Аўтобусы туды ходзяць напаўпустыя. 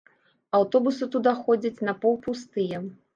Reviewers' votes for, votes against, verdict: 0, 2, rejected